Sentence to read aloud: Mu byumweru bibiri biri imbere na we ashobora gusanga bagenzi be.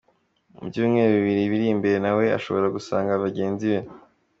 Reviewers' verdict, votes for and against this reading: accepted, 2, 0